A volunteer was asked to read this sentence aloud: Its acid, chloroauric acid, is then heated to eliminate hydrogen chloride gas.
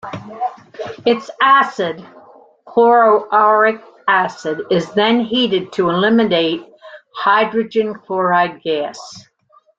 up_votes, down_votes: 2, 0